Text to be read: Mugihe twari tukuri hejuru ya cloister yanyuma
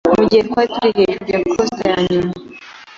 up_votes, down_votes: 1, 3